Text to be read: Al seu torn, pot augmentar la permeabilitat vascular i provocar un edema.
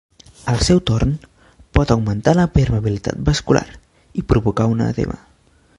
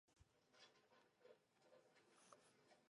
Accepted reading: first